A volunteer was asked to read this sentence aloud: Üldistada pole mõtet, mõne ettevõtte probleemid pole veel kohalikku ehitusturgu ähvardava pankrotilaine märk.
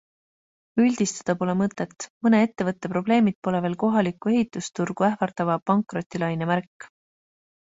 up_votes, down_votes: 2, 0